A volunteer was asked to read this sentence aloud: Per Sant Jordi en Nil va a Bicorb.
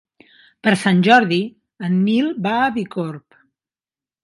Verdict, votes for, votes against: accepted, 2, 0